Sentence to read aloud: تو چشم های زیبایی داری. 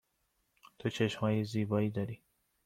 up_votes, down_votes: 2, 0